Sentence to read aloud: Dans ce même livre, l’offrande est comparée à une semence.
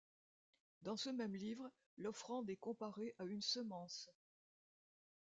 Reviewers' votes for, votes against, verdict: 2, 0, accepted